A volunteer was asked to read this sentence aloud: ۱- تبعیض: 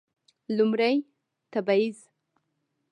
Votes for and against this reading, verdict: 0, 2, rejected